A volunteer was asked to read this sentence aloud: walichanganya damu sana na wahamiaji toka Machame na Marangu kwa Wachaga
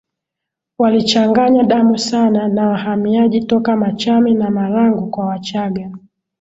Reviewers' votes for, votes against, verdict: 8, 4, accepted